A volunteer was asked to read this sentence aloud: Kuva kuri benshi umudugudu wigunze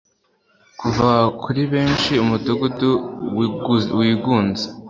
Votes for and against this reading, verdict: 1, 2, rejected